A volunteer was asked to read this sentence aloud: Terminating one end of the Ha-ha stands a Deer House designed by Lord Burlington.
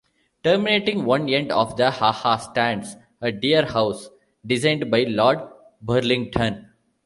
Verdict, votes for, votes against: accepted, 2, 1